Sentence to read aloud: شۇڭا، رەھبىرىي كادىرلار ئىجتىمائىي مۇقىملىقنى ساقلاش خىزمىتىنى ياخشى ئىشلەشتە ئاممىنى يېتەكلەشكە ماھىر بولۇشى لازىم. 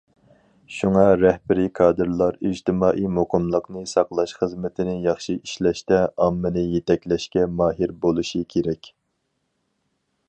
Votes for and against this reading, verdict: 0, 4, rejected